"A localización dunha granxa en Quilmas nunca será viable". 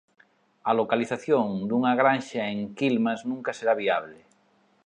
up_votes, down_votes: 2, 0